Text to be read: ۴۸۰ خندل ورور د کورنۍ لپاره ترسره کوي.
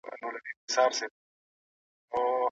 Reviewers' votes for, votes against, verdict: 0, 2, rejected